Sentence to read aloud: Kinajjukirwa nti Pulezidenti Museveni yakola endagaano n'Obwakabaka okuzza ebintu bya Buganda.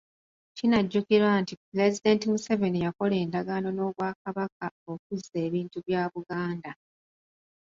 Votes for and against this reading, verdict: 2, 0, accepted